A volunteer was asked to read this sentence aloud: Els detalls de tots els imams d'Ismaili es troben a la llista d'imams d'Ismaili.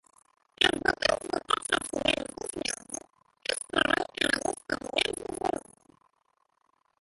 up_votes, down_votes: 2, 1